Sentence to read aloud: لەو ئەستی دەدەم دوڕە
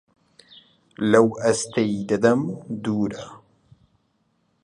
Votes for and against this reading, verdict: 2, 1, accepted